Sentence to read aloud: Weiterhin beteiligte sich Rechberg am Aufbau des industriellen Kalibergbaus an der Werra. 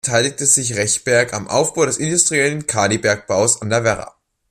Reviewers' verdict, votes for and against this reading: rejected, 0, 2